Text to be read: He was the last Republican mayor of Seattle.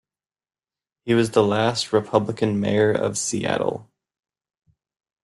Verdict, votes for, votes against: accepted, 2, 0